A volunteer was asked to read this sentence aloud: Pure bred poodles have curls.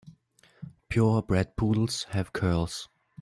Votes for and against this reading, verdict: 2, 0, accepted